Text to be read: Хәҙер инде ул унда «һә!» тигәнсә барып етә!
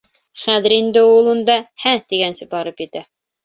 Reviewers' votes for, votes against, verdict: 3, 0, accepted